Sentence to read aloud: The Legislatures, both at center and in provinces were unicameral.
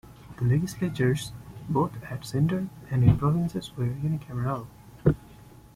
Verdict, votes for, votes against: rejected, 1, 2